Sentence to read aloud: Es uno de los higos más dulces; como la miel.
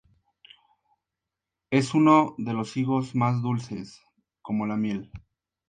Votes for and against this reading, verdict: 4, 0, accepted